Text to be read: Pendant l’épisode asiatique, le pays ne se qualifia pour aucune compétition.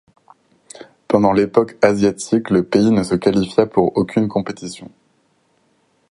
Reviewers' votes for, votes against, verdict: 0, 4, rejected